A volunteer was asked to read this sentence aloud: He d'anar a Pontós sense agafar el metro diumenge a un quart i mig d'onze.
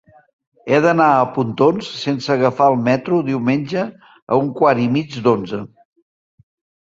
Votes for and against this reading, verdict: 0, 2, rejected